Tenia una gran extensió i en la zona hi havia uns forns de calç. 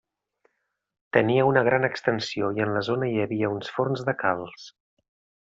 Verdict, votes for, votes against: accepted, 4, 0